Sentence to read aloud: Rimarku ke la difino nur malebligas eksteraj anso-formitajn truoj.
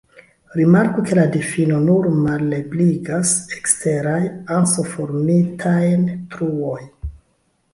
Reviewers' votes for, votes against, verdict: 2, 1, accepted